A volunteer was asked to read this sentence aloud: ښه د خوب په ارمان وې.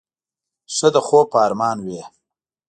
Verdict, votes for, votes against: accepted, 2, 1